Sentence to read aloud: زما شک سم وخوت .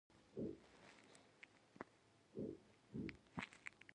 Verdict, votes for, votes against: rejected, 0, 2